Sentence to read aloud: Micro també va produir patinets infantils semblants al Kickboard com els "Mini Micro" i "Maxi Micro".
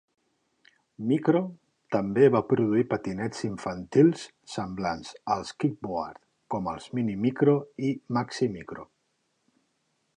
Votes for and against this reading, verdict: 2, 1, accepted